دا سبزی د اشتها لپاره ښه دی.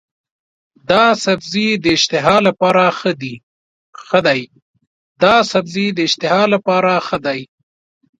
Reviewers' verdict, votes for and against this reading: rejected, 0, 2